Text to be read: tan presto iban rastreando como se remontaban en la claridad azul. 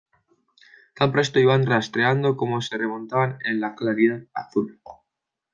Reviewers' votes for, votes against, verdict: 2, 0, accepted